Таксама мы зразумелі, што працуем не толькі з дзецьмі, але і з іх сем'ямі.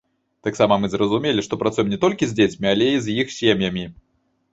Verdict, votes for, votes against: accepted, 2, 0